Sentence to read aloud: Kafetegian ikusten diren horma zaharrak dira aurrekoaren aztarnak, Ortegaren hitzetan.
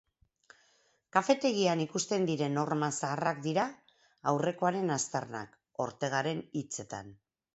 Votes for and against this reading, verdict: 4, 0, accepted